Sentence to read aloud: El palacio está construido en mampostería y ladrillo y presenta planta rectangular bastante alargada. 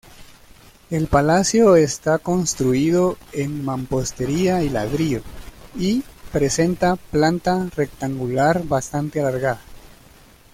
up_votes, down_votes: 1, 2